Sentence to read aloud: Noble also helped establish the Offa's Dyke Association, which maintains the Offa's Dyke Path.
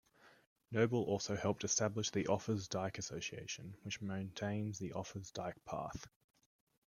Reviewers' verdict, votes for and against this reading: rejected, 0, 2